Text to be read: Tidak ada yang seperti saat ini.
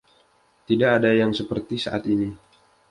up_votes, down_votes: 2, 0